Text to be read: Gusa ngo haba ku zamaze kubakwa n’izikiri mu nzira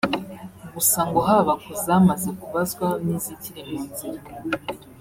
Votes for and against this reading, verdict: 1, 2, rejected